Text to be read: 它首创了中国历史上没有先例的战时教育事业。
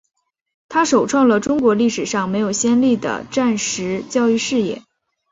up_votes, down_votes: 2, 1